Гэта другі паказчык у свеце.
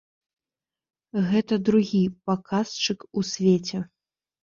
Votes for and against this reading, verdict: 2, 0, accepted